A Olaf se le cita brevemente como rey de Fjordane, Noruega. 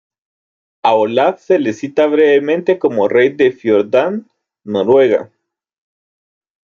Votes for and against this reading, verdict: 0, 2, rejected